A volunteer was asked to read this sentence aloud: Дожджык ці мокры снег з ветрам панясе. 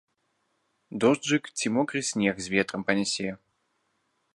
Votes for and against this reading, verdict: 0, 2, rejected